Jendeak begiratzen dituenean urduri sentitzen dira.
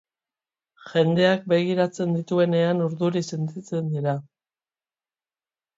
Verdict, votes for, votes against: accepted, 2, 0